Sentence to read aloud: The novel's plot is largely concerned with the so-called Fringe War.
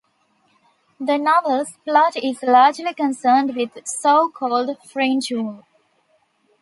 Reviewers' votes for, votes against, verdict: 0, 2, rejected